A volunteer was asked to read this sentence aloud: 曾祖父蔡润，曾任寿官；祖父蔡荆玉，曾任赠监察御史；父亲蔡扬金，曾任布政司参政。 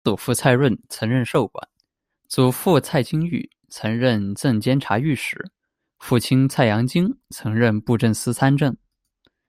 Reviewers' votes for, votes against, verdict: 0, 2, rejected